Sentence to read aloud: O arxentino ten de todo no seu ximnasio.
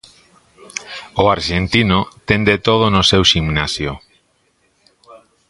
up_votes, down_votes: 1, 2